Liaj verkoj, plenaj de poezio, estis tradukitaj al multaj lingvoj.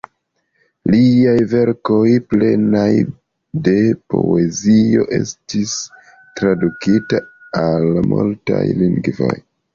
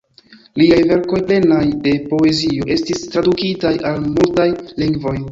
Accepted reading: first